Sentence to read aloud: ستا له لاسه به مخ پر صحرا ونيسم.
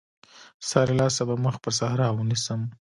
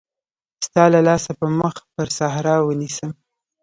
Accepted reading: first